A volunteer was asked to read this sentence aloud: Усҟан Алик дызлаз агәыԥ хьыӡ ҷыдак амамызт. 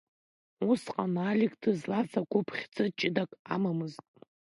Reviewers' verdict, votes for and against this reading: accepted, 2, 0